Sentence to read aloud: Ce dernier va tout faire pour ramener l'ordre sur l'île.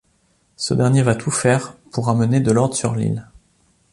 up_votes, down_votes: 1, 2